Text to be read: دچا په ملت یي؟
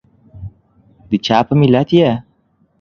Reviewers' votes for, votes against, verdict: 0, 2, rejected